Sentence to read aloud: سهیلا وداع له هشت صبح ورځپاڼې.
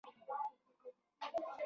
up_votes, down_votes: 0, 2